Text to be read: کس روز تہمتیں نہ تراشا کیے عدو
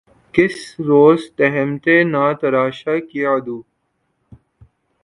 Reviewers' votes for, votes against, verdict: 8, 3, accepted